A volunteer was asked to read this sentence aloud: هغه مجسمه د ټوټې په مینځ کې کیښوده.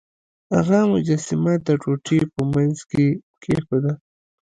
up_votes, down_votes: 1, 2